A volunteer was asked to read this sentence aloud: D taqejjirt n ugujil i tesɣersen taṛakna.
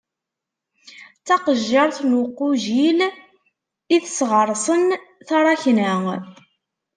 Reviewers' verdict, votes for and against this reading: rejected, 0, 2